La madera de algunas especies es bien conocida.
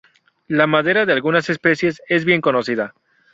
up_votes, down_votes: 2, 2